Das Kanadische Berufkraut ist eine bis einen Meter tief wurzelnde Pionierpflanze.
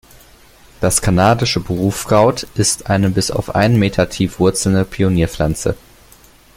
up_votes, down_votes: 2, 0